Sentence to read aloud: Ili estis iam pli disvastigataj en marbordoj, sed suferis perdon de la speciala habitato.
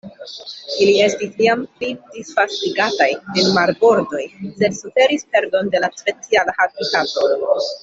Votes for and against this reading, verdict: 1, 2, rejected